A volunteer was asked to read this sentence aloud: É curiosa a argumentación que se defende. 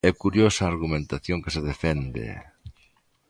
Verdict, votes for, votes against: accepted, 2, 0